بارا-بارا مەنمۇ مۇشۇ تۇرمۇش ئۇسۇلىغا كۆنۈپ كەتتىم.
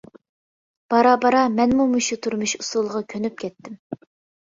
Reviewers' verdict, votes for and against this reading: accepted, 2, 0